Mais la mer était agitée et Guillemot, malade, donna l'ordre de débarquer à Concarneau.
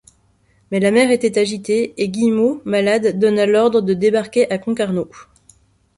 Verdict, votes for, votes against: accepted, 3, 0